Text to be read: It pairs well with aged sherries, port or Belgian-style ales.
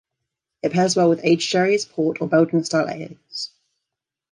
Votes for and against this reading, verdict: 1, 2, rejected